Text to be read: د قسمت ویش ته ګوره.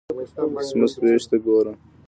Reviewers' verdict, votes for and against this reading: accepted, 2, 0